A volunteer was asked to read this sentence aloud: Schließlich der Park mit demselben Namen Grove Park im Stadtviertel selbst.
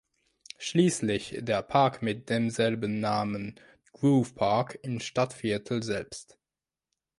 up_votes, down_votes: 1, 2